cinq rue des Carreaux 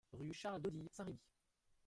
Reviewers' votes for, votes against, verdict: 0, 2, rejected